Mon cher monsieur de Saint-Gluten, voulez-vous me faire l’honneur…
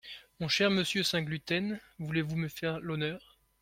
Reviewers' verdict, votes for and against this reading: rejected, 1, 2